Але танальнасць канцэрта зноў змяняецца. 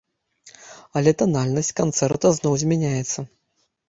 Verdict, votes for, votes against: accepted, 2, 0